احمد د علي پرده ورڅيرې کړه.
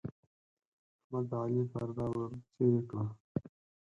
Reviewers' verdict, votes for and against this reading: accepted, 4, 2